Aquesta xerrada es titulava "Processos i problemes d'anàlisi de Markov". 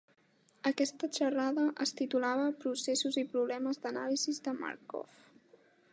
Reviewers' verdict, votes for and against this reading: accepted, 2, 1